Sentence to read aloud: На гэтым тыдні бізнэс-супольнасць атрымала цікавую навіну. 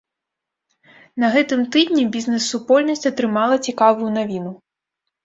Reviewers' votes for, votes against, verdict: 1, 2, rejected